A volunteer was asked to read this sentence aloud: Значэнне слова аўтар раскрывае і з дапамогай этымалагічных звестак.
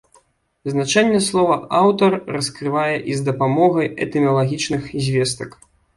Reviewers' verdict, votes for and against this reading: rejected, 1, 2